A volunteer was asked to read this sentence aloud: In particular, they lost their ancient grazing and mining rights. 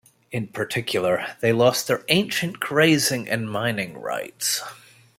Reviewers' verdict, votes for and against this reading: accepted, 2, 0